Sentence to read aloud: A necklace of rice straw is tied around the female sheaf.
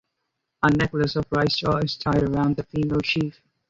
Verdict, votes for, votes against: rejected, 0, 2